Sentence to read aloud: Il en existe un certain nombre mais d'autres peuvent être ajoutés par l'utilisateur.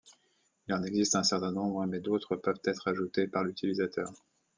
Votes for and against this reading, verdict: 2, 0, accepted